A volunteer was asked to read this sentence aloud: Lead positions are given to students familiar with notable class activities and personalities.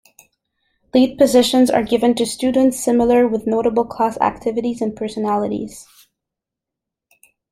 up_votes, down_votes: 2, 1